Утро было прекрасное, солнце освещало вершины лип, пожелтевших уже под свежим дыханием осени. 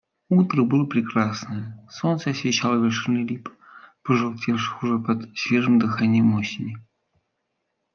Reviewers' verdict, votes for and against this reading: rejected, 0, 2